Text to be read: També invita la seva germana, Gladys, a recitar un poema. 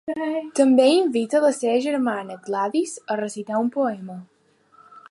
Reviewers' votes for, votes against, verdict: 0, 2, rejected